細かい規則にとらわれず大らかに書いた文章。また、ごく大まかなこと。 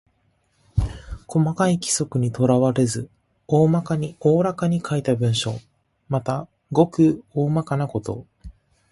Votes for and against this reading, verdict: 1, 2, rejected